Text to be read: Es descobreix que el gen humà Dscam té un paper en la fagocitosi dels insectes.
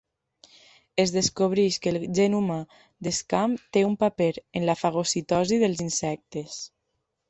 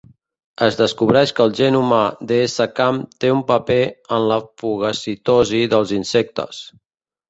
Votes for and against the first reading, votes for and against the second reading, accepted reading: 2, 0, 0, 2, first